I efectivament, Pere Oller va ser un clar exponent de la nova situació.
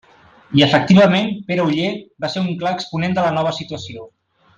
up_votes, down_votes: 3, 0